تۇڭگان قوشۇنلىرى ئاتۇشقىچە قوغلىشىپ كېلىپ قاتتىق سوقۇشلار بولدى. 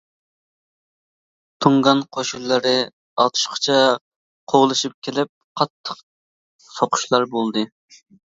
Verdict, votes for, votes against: accepted, 2, 0